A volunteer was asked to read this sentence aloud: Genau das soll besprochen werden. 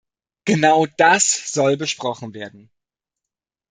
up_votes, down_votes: 2, 0